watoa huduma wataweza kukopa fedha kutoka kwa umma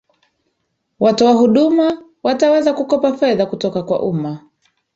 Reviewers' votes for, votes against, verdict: 2, 0, accepted